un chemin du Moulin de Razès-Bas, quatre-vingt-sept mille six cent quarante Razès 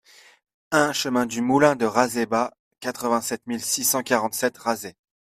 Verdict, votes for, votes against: accepted, 2, 0